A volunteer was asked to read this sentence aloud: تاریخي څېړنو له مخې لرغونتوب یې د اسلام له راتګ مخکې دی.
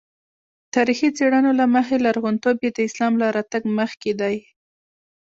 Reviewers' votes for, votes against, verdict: 1, 2, rejected